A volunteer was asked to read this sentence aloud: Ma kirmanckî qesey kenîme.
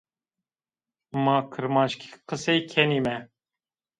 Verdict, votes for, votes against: accepted, 2, 0